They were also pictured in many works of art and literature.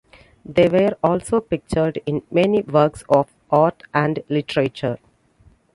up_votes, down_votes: 2, 0